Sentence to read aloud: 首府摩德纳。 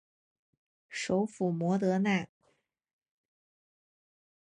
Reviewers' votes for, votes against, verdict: 3, 0, accepted